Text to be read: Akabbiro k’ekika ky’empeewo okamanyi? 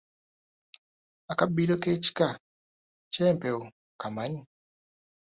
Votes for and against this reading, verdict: 2, 0, accepted